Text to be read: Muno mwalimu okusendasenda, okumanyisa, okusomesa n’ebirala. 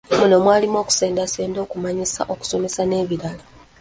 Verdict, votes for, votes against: accepted, 2, 1